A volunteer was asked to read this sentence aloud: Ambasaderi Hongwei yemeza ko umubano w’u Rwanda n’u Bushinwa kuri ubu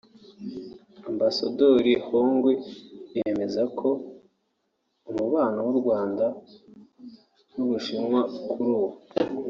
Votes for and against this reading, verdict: 1, 2, rejected